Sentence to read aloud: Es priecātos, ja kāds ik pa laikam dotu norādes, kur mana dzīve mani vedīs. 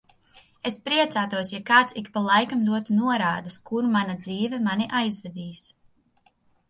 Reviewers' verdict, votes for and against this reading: rejected, 0, 2